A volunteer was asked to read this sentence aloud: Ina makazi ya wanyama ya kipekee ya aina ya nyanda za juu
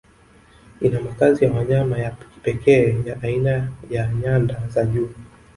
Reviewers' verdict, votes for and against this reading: rejected, 1, 2